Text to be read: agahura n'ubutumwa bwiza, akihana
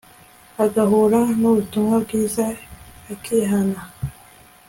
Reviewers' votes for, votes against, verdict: 2, 0, accepted